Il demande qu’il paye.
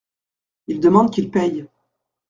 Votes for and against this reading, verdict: 2, 0, accepted